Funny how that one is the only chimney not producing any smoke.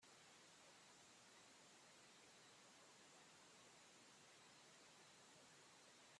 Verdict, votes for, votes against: rejected, 0, 2